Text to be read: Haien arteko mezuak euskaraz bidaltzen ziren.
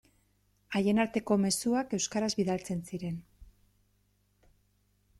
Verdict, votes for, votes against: accepted, 2, 1